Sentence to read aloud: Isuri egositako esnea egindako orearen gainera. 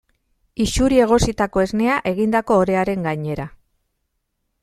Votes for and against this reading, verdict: 2, 0, accepted